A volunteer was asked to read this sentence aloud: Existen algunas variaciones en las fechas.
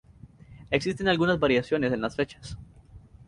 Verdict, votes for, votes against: rejected, 0, 2